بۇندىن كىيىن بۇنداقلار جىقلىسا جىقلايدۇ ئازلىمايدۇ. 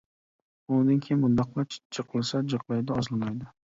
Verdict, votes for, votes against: rejected, 0, 2